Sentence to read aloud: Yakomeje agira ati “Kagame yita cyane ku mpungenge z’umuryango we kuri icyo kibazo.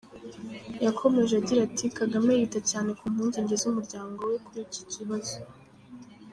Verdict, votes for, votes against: accepted, 3, 0